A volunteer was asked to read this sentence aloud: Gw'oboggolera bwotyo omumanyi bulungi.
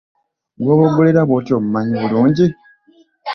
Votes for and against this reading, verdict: 2, 0, accepted